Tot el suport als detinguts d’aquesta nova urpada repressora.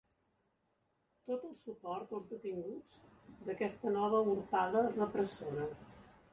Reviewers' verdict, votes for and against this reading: rejected, 1, 2